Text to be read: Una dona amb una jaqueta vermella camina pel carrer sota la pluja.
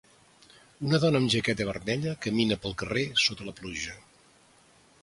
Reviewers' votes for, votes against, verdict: 0, 2, rejected